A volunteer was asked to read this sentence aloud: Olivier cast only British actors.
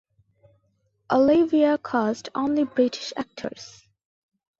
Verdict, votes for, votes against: accepted, 2, 1